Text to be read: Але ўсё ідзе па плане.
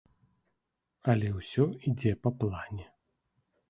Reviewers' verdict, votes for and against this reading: accepted, 2, 0